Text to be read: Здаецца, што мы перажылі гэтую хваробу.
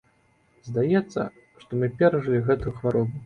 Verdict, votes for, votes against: accepted, 2, 0